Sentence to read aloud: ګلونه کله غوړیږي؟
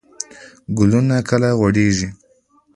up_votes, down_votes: 2, 0